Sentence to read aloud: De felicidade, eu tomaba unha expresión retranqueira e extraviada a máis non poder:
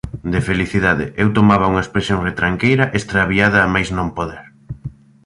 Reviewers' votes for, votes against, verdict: 2, 0, accepted